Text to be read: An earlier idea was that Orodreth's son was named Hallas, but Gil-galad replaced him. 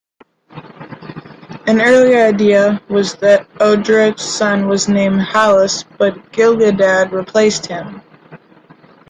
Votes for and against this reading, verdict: 0, 2, rejected